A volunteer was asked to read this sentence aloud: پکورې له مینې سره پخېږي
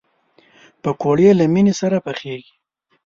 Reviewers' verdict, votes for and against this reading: accepted, 2, 0